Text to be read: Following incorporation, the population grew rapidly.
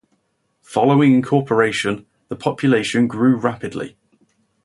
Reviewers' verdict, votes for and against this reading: accepted, 2, 0